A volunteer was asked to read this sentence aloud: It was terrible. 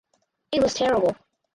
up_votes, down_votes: 4, 2